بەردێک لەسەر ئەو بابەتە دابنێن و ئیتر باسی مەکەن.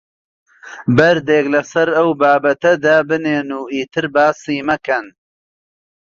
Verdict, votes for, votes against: accepted, 4, 0